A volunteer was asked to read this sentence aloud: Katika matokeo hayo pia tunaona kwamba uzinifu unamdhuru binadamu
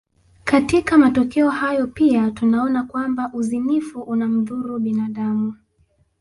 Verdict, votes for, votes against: accepted, 2, 1